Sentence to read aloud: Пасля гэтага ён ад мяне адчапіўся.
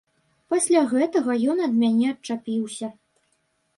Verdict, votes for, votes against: accepted, 2, 0